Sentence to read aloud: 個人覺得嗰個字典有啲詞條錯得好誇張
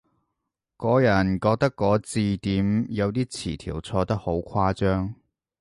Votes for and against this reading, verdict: 1, 2, rejected